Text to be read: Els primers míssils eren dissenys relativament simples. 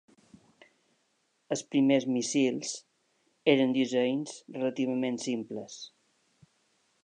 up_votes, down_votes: 1, 2